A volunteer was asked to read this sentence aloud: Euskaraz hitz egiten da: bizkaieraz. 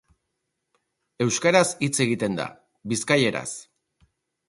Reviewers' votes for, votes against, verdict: 4, 0, accepted